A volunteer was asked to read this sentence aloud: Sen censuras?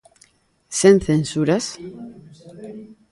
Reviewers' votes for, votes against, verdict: 2, 1, accepted